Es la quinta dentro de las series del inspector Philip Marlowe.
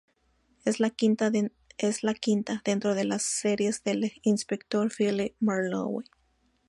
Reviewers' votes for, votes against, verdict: 0, 2, rejected